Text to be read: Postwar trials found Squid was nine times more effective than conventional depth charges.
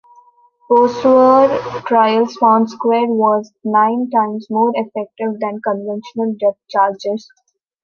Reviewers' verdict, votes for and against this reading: accepted, 2, 0